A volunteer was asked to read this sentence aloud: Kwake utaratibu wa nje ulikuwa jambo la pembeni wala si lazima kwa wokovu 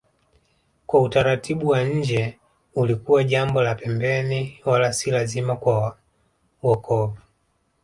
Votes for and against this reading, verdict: 1, 2, rejected